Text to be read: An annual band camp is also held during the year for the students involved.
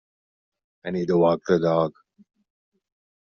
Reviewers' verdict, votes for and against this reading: rejected, 1, 3